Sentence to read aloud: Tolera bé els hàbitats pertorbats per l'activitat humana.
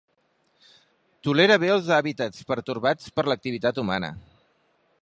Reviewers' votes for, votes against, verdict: 3, 0, accepted